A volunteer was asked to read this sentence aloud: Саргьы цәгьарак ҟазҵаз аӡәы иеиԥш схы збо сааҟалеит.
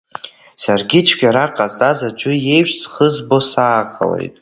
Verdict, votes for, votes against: accepted, 2, 1